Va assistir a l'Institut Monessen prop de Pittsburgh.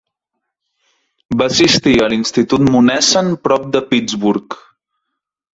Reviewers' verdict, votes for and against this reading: accepted, 4, 0